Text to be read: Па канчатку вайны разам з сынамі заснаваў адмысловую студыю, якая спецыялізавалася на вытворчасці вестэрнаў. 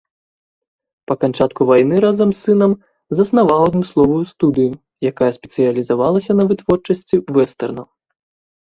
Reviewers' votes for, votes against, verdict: 1, 2, rejected